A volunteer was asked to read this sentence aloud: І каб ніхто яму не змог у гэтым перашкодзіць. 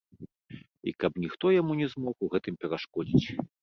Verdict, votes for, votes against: accepted, 2, 0